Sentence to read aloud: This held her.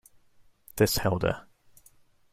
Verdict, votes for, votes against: accepted, 2, 0